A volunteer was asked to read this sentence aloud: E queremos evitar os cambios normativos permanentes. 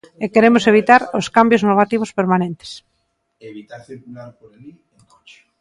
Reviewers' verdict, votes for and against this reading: rejected, 1, 2